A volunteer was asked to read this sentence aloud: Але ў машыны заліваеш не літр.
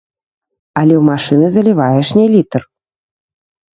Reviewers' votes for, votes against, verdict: 0, 3, rejected